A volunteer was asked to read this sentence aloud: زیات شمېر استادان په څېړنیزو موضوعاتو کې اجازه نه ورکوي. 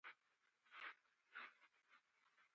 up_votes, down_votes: 0, 2